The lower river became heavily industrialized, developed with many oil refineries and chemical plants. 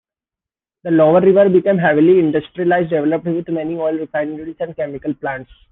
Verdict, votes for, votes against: rejected, 1, 2